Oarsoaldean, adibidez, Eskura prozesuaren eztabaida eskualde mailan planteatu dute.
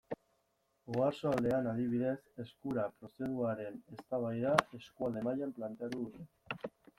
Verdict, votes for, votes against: rejected, 1, 2